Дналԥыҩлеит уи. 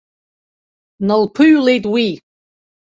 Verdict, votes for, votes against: accepted, 2, 0